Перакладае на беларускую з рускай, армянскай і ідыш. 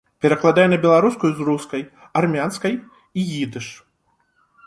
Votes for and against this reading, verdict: 2, 0, accepted